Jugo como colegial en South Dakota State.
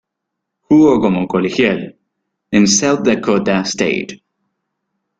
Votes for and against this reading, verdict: 2, 1, accepted